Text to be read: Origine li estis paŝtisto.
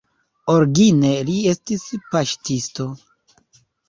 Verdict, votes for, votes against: rejected, 0, 2